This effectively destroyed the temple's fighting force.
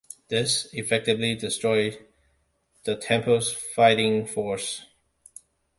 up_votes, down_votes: 2, 0